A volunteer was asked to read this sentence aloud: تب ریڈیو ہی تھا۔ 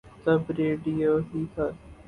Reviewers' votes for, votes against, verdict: 0, 2, rejected